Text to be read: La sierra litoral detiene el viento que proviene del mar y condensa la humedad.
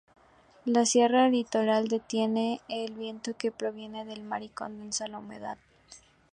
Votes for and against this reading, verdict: 2, 0, accepted